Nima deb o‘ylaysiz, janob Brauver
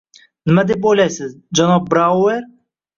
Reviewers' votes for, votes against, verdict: 1, 2, rejected